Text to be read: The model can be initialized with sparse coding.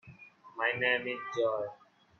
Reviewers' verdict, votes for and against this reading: rejected, 0, 3